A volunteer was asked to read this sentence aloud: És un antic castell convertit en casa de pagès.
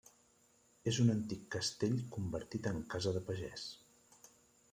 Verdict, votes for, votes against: accepted, 3, 1